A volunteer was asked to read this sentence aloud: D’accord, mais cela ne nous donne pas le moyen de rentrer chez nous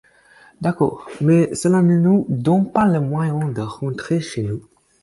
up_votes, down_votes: 4, 0